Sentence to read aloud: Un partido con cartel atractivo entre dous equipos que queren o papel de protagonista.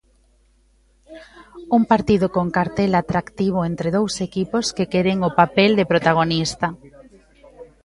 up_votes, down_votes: 1, 2